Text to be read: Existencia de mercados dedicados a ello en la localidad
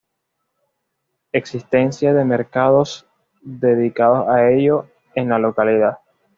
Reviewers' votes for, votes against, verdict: 2, 0, accepted